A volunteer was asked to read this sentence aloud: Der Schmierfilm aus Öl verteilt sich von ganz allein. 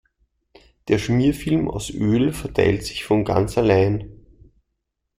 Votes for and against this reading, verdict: 2, 0, accepted